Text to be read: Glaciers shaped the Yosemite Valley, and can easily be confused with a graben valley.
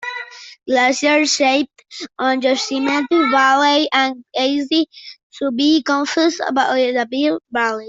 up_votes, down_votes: 0, 2